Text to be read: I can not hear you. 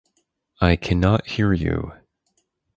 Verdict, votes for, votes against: accepted, 4, 0